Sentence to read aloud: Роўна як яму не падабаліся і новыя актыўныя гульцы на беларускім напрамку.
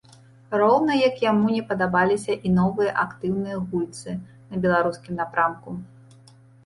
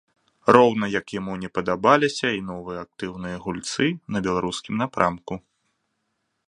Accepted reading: second